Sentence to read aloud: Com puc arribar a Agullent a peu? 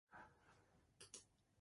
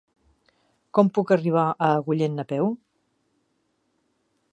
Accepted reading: second